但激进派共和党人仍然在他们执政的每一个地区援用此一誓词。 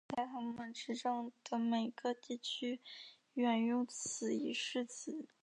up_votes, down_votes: 0, 2